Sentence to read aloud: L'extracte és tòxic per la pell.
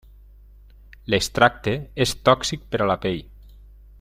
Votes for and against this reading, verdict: 0, 2, rejected